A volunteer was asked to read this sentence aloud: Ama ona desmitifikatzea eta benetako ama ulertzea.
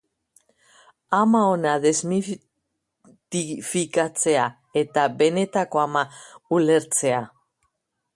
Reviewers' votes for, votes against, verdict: 0, 2, rejected